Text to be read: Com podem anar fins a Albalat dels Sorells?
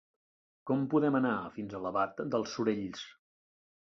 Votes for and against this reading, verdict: 2, 0, accepted